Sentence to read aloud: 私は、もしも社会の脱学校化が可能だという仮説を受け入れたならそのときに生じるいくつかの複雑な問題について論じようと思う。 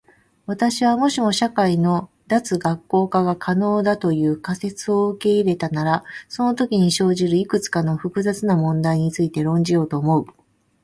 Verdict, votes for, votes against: accepted, 2, 0